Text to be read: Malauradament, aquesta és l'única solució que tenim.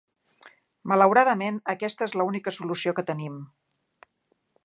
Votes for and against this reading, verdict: 0, 4, rejected